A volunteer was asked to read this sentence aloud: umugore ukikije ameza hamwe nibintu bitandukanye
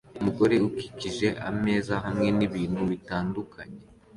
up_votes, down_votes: 2, 0